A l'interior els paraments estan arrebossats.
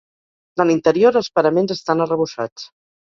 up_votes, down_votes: 0, 4